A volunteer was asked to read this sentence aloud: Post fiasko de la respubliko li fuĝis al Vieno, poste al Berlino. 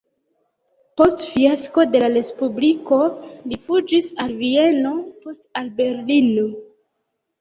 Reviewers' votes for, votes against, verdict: 1, 2, rejected